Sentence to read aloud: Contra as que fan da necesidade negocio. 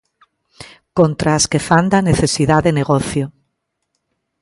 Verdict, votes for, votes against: accepted, 2, 0